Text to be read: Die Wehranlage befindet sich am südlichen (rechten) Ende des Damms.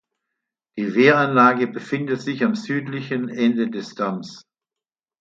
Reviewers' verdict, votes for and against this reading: rejected, 0, 2